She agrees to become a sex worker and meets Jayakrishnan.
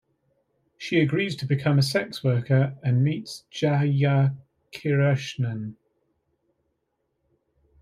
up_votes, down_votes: 1, 2